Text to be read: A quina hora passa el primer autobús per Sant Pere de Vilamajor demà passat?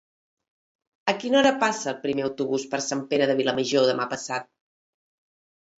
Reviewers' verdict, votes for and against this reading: accepted, 2, 0